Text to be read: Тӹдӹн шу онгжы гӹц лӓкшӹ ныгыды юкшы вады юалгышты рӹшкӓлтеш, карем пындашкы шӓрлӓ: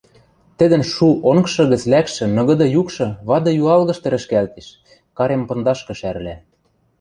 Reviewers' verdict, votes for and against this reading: accepted, 2, 0